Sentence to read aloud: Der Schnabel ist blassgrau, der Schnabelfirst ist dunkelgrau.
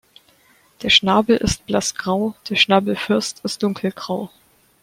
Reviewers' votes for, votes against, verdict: 2, 0, accepted